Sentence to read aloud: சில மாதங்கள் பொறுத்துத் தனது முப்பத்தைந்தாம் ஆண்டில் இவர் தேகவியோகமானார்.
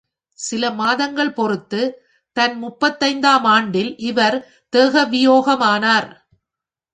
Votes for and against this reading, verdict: 0, 2, rejected